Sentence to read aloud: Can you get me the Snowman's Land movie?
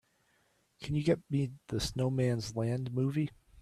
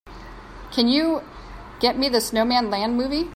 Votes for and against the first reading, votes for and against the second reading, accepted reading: 2, 1, 0, 3, first